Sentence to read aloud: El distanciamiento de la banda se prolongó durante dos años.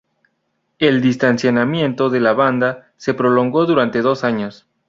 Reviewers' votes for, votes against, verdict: 2, 0, accepted